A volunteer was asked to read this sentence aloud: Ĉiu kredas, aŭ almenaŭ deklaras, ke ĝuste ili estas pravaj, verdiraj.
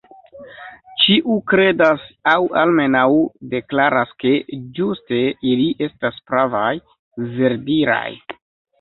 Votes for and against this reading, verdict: 2, 0, accepted